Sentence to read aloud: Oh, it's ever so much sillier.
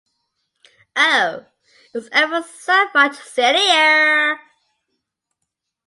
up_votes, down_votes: 2, 0